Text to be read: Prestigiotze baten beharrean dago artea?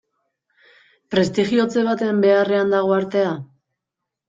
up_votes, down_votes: 2, 0